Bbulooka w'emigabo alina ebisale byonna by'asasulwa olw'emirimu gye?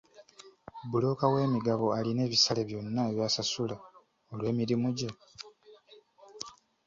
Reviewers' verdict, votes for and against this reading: accepted, 2, 1